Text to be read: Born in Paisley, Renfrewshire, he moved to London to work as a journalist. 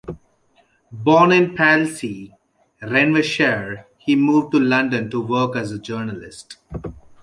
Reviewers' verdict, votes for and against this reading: rejected, 1, 2